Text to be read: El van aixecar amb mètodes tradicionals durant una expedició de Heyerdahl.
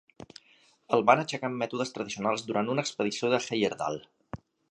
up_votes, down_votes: 3, 0